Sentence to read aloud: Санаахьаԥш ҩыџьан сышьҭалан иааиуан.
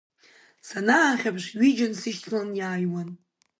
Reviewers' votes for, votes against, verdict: 2, 0, accepted